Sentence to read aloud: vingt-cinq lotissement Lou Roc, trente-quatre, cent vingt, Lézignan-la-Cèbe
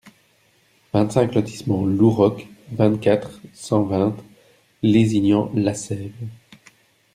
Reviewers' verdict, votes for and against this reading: rejected, 0, 2